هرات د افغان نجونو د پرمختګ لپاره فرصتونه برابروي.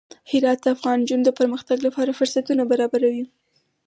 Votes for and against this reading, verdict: 2, 4, rejected